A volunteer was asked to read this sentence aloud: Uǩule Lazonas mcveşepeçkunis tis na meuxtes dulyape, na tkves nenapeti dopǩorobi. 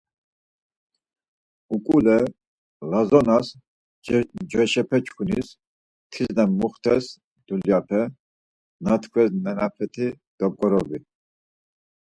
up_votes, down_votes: 2, 4